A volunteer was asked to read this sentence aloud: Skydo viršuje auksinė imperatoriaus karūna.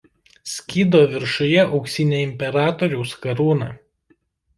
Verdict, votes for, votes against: accepted, 2, 1